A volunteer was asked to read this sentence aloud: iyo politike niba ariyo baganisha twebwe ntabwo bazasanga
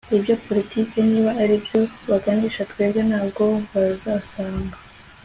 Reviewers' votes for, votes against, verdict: 2, 0, accepted